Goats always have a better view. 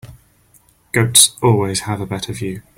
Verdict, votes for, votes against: accepted, 3, 1